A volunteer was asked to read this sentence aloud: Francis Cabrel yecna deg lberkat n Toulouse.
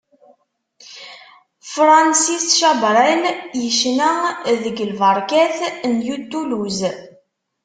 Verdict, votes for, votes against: rejected, 0, 2